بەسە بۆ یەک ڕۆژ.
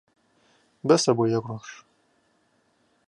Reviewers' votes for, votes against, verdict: 2, 0, accepted